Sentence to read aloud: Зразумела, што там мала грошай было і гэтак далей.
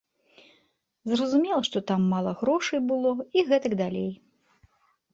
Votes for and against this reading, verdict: 2, 0, accepted